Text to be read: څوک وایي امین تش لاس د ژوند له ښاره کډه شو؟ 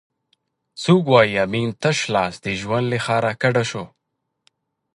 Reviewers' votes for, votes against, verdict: 2, 0, accepted